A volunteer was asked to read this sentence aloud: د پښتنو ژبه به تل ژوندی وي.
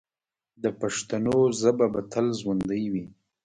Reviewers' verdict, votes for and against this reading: rejected, 0, 2